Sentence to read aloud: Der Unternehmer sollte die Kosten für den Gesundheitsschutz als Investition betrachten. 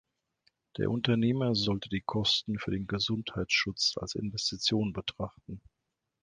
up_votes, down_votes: 2, 0